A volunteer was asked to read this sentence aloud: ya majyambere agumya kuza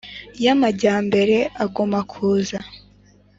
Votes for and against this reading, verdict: 4, 0, accepted